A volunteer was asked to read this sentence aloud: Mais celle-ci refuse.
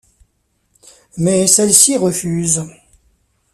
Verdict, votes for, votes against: accepted, 2, 0